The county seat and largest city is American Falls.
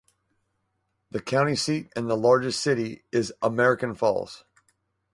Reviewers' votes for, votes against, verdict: 2, 2, rejected